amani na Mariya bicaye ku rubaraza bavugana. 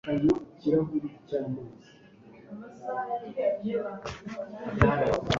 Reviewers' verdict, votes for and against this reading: rejected, 1, 2